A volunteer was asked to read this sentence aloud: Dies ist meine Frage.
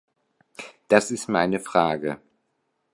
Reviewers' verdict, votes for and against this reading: rejected, 0, 2